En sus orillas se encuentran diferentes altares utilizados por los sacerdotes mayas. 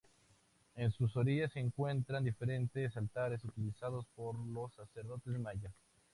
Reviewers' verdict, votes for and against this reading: rejected, 0, 2